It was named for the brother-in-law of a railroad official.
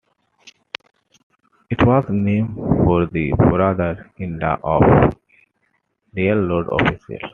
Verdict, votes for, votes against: rejected, 0, 2